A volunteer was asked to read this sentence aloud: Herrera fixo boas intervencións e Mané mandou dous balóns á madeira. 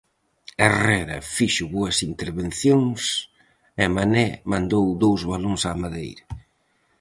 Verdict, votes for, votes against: accepted, 4, 0